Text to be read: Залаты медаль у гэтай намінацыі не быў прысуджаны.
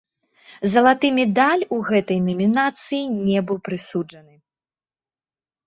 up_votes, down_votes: 1, 2